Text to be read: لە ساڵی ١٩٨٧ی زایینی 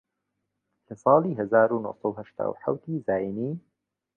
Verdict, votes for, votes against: rejected, 0, 2